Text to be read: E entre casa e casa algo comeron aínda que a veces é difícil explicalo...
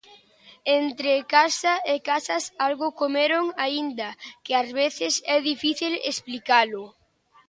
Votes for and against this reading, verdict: 0, 2, rejected